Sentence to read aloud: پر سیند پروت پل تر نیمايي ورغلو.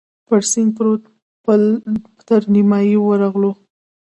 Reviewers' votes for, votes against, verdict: 2, 0, accepted